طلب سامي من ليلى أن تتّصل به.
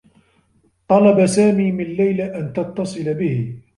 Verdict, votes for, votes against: rejected, 1, 2